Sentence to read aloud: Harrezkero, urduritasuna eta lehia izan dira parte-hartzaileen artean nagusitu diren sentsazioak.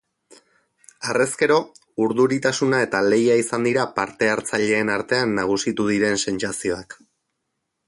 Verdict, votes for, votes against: accepted, 4, 0